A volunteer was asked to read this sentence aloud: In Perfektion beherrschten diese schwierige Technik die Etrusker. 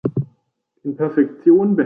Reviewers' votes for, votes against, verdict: 0, 2, rejected